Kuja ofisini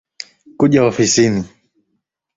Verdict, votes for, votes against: accepted, 3, 0